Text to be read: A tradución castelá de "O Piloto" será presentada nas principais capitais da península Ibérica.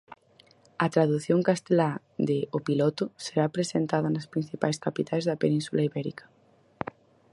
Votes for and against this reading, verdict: 4, 0, accepted